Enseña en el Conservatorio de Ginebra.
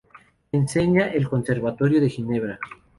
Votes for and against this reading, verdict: 0, 2, rejected